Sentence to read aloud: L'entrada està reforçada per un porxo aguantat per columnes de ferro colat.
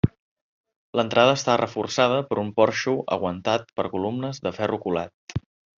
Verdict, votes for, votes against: accepted, 2, 0